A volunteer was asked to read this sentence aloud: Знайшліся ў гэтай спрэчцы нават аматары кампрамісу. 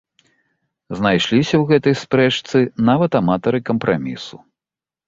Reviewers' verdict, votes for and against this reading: accepted, 2, 0